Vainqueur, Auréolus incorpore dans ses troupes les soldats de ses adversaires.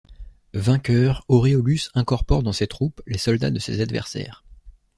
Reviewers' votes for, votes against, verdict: 2, 0, accepted